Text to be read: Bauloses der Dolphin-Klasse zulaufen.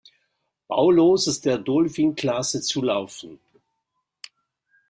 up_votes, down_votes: 1, 2